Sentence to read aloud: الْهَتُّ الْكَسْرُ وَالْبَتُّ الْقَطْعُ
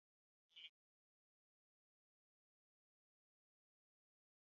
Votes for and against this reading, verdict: 0, 2, rejected